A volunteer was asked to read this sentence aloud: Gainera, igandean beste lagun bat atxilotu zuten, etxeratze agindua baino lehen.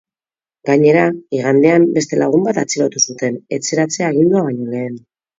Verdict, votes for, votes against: accepted, 6, 0